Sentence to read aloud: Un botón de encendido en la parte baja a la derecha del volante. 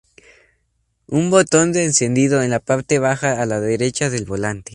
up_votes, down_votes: 4, 0